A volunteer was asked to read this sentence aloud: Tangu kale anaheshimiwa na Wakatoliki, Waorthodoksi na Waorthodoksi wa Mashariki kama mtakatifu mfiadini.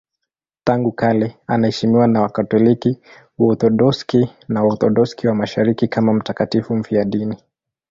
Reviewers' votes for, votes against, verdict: 1, 2, rejected